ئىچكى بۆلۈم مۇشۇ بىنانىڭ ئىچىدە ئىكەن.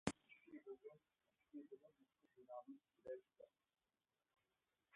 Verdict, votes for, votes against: rejected, 0, 2